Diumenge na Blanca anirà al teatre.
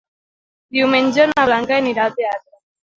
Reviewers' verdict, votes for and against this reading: rejected, 0, 2